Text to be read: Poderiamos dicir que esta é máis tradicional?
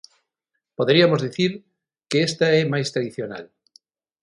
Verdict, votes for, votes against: rejected, 3, 3